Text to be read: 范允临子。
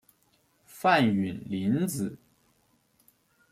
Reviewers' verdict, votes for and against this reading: accepted, 2, 0